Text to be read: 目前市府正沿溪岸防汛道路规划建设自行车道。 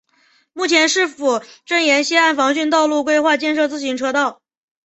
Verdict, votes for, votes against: accepted, 2, 0